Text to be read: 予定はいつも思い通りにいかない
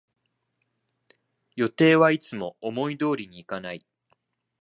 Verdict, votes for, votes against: accepted, 2, 0